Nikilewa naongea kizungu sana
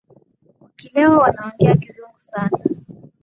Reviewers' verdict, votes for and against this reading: rejected, 2, 3